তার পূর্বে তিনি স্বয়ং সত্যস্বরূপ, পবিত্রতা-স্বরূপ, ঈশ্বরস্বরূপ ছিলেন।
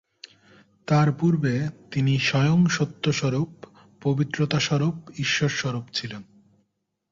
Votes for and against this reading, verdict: 2, 0, accepted